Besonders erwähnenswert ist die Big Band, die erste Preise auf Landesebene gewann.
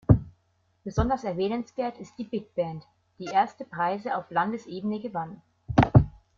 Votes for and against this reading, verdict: 2, 0, accepted